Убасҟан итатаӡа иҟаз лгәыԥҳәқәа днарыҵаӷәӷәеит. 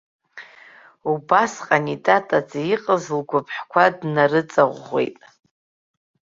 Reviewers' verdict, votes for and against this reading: accepted, 2, 0